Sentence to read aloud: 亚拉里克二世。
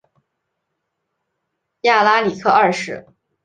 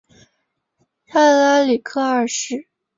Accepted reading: first